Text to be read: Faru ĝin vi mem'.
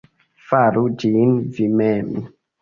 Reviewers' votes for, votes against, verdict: 0, 2, rejected